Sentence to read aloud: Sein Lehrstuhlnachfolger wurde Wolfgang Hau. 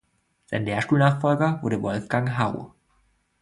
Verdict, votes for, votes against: rejected, 1, 2